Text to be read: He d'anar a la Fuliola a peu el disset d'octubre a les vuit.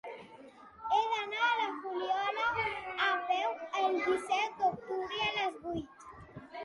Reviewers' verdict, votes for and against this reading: accepted, 2, 0